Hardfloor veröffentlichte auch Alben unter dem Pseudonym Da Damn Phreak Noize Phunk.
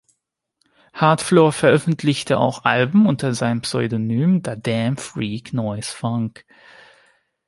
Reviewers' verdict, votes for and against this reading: rejected, 1, 2